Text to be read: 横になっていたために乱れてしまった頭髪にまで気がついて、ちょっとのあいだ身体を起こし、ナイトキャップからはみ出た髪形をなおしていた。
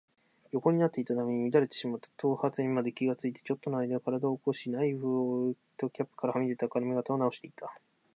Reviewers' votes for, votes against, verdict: 1, 2, rejected